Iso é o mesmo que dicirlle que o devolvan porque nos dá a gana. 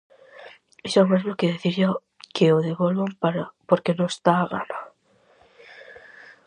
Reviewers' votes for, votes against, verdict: 0, 4, rejected